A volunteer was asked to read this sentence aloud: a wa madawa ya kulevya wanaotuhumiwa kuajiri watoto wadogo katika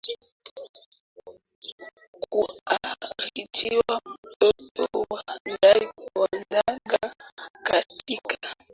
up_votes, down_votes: 0, 2